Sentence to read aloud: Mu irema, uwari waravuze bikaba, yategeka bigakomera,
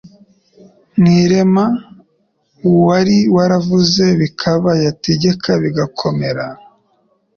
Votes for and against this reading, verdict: 2, 0, accepted